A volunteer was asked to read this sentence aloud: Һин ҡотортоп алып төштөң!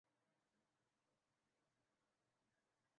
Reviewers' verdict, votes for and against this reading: rejected, 0, 2